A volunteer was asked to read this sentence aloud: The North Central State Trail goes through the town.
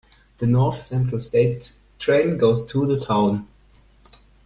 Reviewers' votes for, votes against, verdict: 2, 1, accepted